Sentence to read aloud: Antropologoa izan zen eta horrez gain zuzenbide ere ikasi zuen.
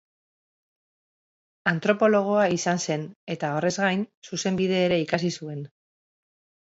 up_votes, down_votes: 2, 0